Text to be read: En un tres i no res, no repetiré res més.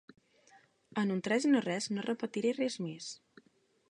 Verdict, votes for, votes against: accepted, 3, 0